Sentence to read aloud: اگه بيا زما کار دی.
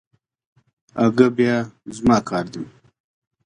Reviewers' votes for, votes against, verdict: 2, 0, accepted